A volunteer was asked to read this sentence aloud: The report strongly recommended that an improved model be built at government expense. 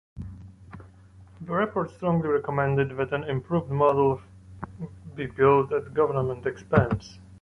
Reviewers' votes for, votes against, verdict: 2, 1, accepted